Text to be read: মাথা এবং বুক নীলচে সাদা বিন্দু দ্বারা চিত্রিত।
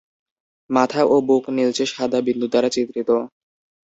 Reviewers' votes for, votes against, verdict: 0, 2, rejected